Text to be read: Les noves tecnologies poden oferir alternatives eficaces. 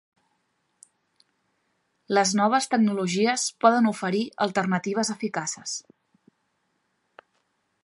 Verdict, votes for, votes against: accepted, 4, 0